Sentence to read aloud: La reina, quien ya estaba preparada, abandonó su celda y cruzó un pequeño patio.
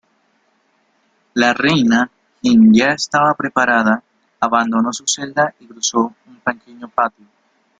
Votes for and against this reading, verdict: 0, 2, rejected